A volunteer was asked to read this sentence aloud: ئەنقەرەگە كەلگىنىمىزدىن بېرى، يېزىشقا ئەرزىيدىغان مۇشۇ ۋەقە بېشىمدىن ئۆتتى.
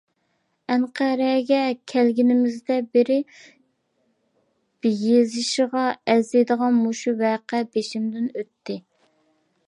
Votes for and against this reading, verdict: 0, 2, rejected